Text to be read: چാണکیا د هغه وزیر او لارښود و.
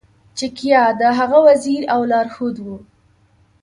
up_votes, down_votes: 1, 2